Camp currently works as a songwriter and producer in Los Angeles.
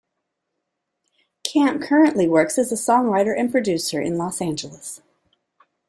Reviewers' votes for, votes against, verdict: 2, 0, accepted